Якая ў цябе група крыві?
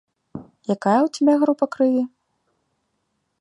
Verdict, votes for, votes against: accepted, 2, 0